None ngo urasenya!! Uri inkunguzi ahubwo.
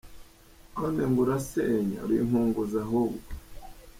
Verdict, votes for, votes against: accepted, 2, 0